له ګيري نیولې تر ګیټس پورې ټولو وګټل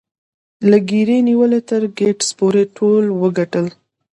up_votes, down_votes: 1, 2